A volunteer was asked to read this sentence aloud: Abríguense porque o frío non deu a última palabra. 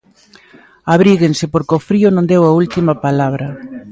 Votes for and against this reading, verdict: 2, 0, accepted